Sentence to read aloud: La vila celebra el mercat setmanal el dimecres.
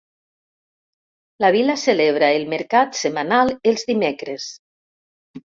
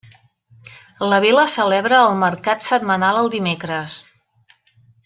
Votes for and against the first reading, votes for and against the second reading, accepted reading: 1, 2, 3, 0, second